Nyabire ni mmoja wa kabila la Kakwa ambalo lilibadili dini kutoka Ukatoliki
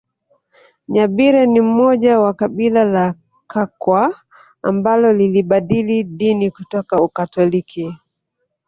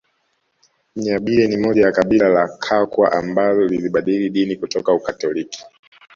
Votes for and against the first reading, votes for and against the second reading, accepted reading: 0, 2, 2, 0, second